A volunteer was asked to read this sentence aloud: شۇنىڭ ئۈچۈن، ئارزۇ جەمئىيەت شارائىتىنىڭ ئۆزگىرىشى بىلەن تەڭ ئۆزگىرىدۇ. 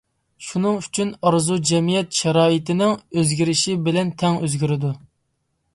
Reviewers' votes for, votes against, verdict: 2, 0, accepted